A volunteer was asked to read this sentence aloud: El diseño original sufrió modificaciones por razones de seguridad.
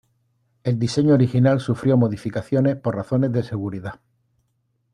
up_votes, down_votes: 2, 0